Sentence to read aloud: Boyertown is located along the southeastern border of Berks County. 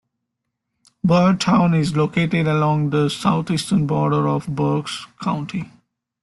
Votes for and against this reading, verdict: 2, 1, accepted